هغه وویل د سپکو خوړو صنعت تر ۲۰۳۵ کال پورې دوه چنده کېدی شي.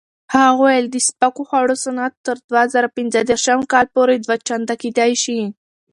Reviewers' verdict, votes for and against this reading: rejected, 0, 2